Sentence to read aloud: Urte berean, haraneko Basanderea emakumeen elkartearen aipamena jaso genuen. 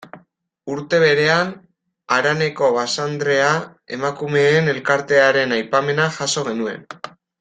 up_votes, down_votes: 1, 2